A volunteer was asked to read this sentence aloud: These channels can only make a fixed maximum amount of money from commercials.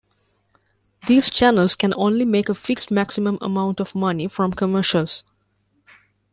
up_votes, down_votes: 2, 0